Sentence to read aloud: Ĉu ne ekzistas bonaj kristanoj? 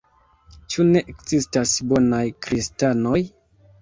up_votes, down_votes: 2, 0